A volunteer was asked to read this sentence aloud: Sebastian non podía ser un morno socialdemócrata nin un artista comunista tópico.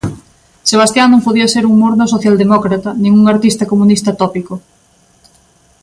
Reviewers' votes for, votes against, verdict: 2, 0, accepted